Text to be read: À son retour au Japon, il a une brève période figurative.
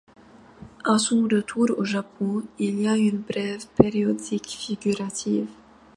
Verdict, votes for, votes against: rejected, 0, 2